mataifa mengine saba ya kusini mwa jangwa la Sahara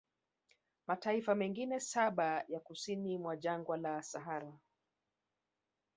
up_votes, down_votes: 0, 2